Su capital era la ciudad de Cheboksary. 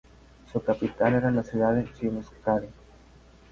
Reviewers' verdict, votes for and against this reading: rejected, 2, 2